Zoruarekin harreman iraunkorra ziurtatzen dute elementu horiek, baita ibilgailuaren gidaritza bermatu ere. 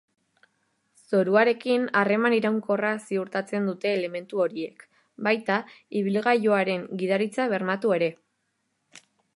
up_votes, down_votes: 2, 0